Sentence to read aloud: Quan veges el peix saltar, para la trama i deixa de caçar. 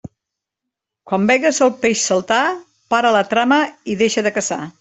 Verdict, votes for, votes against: accepted, 2, 0